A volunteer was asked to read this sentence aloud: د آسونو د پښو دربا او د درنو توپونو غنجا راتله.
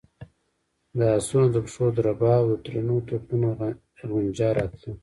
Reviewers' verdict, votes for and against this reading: rejected, 1, 2